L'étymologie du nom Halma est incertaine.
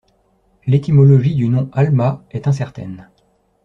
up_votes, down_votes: 2, 0